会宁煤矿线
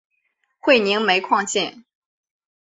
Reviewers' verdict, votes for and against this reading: accepted, 2, 0